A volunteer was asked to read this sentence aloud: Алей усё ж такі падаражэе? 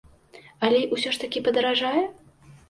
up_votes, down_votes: 0, 2